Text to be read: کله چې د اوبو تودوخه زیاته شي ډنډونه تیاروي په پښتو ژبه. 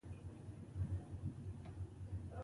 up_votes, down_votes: 0, 2